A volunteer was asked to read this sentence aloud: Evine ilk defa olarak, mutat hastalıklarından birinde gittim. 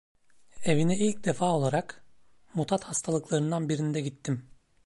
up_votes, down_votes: 2, 0